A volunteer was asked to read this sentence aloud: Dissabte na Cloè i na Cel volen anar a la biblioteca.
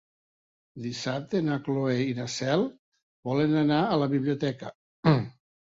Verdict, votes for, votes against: rejected, 1, 2